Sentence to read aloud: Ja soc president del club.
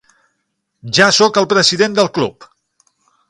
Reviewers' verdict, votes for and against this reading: rejected, 0, 6